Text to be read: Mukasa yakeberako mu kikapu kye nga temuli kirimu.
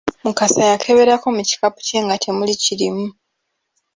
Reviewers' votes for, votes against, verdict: 1, 2, rejected